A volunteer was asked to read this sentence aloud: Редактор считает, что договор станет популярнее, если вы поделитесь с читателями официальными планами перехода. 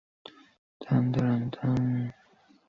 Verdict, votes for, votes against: rejected, 0, 2